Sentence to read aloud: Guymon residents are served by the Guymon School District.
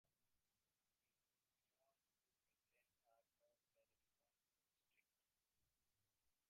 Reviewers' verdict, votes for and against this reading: rejected, 0, 2